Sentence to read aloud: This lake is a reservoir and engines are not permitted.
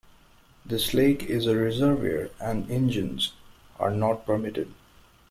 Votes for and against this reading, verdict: 2, 1, accepted